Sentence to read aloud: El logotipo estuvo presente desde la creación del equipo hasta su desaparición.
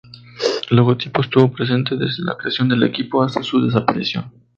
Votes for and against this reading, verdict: 0, 4, rejected